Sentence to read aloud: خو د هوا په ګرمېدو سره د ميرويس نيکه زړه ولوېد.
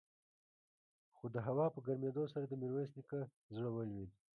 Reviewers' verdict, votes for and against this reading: rejected, 0, 2